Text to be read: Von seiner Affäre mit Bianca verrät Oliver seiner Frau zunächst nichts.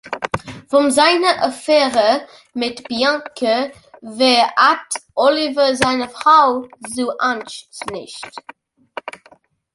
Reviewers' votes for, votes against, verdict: 0, 2, rejected